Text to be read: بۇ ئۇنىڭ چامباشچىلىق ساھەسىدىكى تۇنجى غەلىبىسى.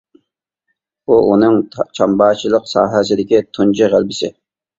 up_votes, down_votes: 0, 2